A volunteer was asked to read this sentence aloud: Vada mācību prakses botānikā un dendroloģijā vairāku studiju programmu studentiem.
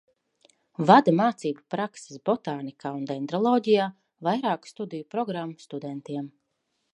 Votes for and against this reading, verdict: 2, 0, accepted